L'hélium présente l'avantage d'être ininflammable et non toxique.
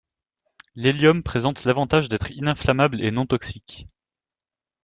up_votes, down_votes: 2, 1